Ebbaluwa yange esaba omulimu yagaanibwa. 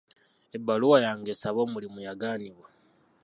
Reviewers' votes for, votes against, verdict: 2, 0, accepted